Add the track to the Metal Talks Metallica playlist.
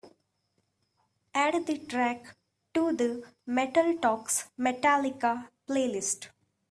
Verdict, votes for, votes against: accepted, 3, 1